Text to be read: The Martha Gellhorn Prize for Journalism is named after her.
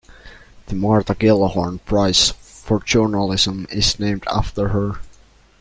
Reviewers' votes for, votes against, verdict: 2, 1, accepted